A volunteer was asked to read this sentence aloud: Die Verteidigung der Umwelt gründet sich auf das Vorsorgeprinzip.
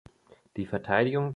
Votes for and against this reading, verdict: 1, 2, rejected